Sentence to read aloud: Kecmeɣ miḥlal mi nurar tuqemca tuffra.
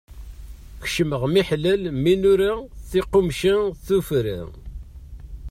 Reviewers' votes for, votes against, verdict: 0, 2, rejected